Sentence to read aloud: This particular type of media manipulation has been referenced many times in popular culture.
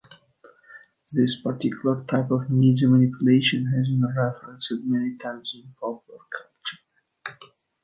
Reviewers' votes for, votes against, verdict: 2, 1, accepted